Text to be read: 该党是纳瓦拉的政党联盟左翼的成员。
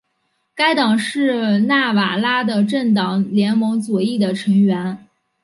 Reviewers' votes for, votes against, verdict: 3, 0, accepted